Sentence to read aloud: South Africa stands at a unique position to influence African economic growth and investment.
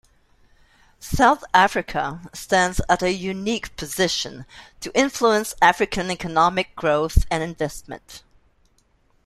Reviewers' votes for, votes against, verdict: 2, 1, accepted